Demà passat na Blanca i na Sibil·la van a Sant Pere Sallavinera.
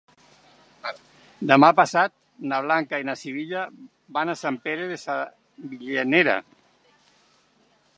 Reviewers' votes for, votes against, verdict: 0, 2, rejected